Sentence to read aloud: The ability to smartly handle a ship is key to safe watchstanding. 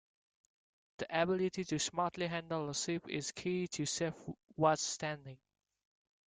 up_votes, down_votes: 2, 0